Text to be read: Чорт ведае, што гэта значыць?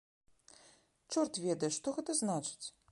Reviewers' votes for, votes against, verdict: 2, 0, accepted